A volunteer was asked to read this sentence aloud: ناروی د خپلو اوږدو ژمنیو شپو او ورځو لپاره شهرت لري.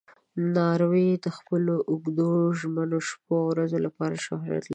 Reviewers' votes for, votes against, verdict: 1, 2, rejected